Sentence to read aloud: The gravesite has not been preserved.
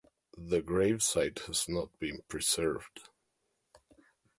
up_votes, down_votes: 2, 1